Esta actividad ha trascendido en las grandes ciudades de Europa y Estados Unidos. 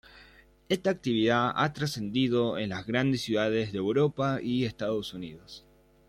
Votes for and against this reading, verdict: 2, 0, accepted